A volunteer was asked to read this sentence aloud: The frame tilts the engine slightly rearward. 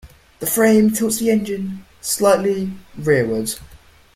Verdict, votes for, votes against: accepted, 2, 0